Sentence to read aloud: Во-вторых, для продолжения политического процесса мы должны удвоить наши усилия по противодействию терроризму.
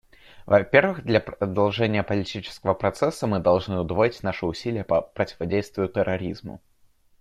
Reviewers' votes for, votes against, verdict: 0, 2, rejected